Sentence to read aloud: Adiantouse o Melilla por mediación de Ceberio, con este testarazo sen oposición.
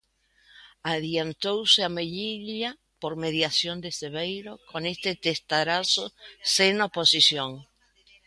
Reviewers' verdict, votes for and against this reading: rejected, 0, 3